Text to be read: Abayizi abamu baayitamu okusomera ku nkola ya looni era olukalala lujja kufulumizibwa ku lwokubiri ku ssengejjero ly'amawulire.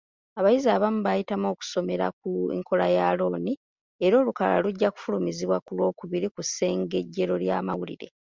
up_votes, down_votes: 2, 0